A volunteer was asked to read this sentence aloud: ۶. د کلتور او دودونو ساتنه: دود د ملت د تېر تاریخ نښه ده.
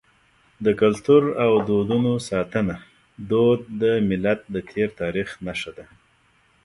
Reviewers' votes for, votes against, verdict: 0, 2, rejected